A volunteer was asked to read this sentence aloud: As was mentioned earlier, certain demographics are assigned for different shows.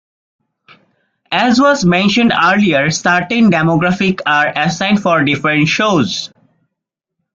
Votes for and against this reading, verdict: 0, 2, rejected